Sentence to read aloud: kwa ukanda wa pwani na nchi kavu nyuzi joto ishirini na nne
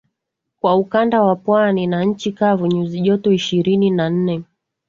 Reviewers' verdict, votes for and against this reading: accepted, 5, 0